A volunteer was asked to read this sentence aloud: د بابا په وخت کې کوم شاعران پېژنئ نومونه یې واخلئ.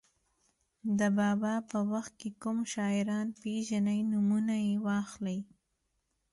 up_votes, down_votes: 2, 0